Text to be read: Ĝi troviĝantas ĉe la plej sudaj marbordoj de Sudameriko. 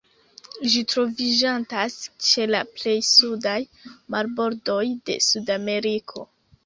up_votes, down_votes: 2, 1